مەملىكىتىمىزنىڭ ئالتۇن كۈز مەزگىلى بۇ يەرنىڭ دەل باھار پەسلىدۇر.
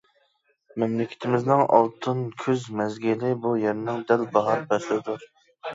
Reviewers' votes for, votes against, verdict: 2, 0, accepted